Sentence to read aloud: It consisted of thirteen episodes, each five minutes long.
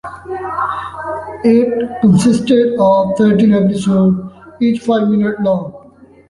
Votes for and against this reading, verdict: 0, 2, rejected